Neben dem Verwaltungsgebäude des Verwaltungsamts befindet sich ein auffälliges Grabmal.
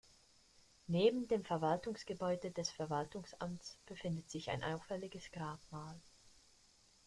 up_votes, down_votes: 1, 2